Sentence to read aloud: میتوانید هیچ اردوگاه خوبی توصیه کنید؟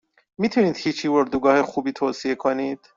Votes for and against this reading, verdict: 0, 2, rejected